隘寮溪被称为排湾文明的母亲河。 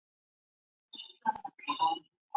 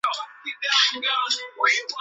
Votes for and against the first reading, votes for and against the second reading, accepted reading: 0, 2, 4, 1, second